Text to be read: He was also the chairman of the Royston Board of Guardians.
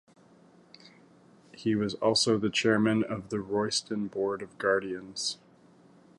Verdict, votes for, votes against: accepted, 2, 0